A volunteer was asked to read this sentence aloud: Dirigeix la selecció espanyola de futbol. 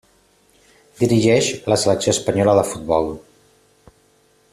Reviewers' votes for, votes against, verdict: 2, 0, accepted